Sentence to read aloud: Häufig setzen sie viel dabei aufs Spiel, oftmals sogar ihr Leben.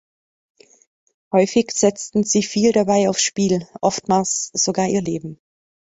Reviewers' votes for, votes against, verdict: 1, 2, rejected